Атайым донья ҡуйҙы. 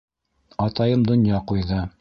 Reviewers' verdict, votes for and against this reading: rejected, 1, 2